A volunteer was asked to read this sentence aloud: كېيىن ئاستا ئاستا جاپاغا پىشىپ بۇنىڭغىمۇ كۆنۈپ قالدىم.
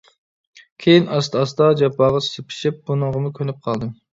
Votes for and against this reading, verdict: 0, 2, rejected